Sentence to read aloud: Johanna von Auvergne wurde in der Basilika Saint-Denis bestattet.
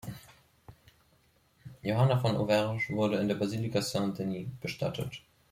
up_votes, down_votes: 2, 3